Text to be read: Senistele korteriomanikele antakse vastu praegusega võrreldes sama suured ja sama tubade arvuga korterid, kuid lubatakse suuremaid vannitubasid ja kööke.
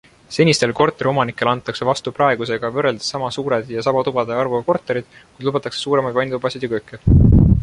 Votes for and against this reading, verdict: 2, 0, accepted